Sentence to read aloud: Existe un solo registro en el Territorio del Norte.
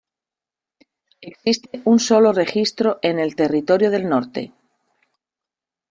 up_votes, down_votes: 0, 2